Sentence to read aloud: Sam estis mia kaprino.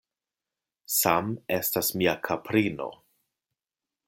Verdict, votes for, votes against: rejected, 1, 2